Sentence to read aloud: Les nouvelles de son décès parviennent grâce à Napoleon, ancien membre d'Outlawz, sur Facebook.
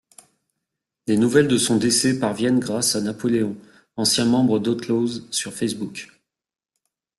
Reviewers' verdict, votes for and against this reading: accepted, 2, 0